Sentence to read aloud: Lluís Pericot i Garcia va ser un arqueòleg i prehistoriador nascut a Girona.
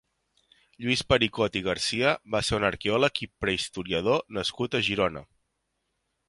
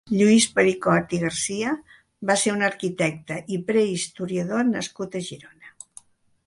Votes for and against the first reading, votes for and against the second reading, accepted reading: 3, 0, 1, 2, first